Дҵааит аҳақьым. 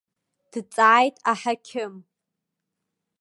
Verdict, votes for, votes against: accepted, 2, 0